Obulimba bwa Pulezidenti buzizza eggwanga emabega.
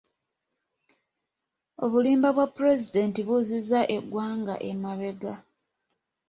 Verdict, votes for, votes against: accepted, 2, 0